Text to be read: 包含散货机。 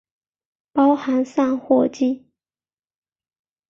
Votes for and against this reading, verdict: 3, 0, accepted